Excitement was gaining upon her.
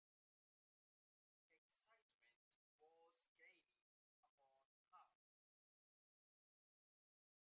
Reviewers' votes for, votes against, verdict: 0, 2, rejected